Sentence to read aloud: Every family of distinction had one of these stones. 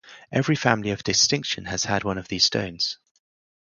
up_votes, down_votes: 0, 4